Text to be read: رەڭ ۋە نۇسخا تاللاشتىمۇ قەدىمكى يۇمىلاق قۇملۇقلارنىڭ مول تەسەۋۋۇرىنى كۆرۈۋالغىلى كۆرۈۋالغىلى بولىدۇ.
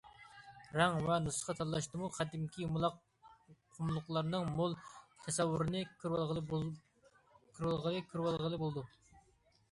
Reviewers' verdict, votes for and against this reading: rejected, 0, 2